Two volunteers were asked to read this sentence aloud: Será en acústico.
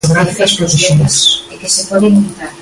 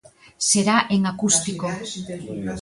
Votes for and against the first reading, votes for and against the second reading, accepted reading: 0, 2, 2, 1, second